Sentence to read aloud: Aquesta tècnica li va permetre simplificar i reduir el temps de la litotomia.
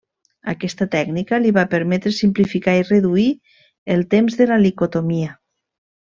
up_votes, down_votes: 1, 2